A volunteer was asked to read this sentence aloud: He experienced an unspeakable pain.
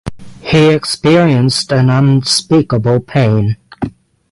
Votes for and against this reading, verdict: 6, 3, accepted